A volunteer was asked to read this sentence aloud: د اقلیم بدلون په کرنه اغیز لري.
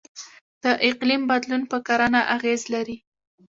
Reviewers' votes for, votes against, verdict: 1, 2, rejected